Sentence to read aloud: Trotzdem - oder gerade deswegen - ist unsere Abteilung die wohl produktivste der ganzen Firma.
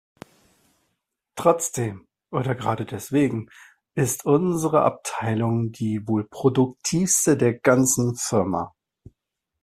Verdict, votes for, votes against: accepted, 2, 0